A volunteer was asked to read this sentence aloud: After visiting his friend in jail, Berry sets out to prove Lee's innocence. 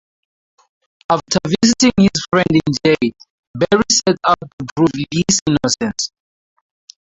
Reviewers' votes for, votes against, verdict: 0, 4, rejected